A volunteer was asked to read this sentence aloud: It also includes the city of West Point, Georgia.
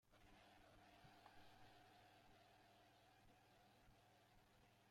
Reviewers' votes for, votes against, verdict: 0, 2, rejected